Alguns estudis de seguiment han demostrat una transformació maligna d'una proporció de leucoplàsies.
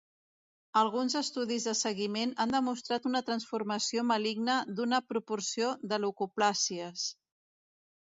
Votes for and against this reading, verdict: 1, 2, rejected